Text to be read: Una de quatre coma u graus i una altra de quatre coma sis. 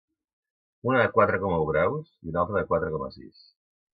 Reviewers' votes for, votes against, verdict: 2, 0, accepted